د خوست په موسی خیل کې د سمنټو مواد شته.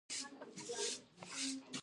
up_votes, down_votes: 1, 2